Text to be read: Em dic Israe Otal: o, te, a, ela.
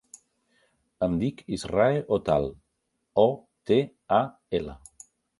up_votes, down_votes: 4, 0